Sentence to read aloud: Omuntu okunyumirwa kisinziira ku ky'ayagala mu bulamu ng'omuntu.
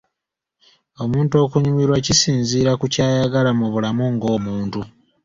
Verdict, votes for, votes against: accepted, 2, 0